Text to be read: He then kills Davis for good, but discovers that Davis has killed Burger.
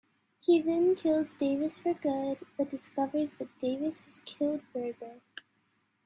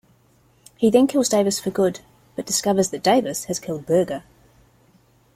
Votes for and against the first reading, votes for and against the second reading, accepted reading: 0, 2, 2, 0, second